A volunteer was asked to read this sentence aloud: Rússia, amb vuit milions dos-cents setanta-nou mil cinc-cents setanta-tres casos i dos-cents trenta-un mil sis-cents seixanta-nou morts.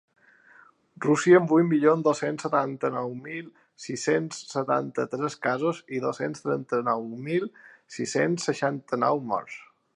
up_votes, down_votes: 0, 2